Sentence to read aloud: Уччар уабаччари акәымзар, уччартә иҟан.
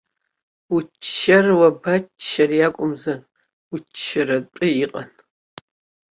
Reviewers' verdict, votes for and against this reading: rejected, 1, 3